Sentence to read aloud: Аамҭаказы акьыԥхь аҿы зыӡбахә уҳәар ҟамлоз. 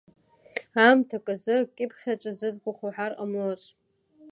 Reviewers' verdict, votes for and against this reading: accepted, 2, 0